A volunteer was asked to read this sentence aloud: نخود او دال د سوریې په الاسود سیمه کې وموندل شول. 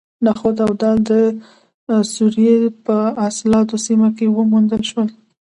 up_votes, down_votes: 1, 2